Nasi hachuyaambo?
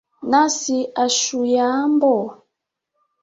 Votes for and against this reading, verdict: 3, 1, accepted